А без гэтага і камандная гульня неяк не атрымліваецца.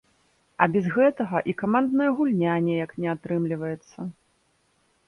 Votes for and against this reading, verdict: 1, 2, rejected